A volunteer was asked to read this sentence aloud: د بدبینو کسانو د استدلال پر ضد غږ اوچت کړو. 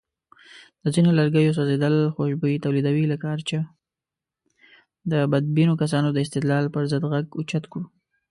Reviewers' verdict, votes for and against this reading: rejected, 1, 2